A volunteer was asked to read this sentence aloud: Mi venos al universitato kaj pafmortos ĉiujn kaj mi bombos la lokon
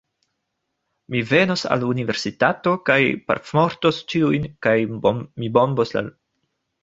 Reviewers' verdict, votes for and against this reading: rejected, 1, 2